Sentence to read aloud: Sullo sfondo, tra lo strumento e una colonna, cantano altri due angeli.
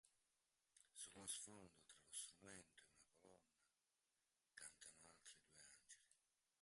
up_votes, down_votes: 0, 2